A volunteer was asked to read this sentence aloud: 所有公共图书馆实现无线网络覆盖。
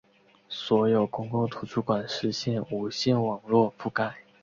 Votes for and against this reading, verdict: 3, 0, accepted